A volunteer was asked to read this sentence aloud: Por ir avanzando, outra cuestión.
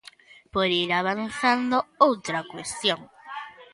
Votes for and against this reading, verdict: 2, 0, accepted